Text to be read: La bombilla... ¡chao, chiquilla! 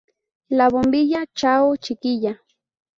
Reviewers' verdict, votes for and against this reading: rejected, 2, 2